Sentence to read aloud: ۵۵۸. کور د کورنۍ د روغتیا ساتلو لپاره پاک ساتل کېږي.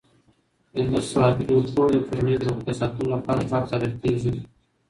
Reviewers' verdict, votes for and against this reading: rejected, 0, 2